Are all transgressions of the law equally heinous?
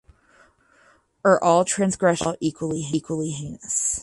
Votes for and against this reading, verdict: 0, 4, rejected